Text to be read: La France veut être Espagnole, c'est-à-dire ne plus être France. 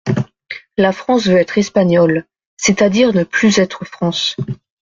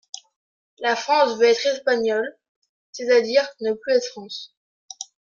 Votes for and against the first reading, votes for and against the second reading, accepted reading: 2, 0, 1, 2, first